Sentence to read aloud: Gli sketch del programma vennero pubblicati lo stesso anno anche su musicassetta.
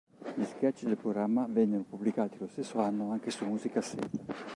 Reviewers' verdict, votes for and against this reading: rejected, 0, 2